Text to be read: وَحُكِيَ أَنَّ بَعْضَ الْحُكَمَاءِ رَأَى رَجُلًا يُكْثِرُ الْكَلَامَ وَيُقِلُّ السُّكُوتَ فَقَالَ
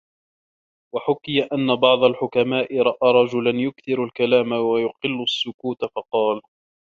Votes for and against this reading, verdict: 1, 2, rejected